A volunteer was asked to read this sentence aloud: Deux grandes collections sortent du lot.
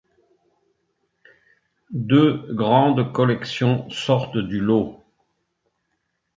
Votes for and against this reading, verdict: 2, 0, accepted